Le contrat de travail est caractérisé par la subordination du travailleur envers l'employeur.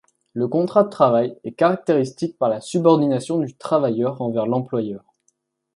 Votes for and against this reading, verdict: 1, 2, rejected